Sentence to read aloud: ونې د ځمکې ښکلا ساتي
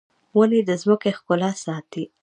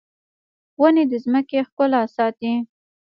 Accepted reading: first